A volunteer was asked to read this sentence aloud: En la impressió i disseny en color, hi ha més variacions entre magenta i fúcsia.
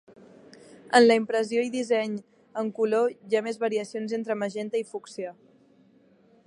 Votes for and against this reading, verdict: 3, 1, accepted